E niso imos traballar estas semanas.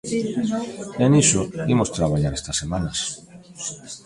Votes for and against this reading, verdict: 2, 0, accepted